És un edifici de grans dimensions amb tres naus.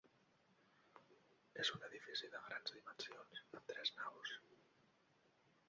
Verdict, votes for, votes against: rejected, 0, 2